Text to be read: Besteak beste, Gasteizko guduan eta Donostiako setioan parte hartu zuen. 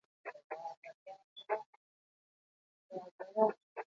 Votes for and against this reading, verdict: 0, 4, rejected